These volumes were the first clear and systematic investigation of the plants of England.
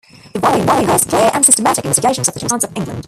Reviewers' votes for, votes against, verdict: 1, 2, rejected